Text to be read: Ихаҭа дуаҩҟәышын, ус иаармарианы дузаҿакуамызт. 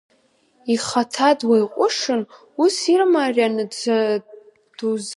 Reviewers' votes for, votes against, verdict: 0, 3, rejected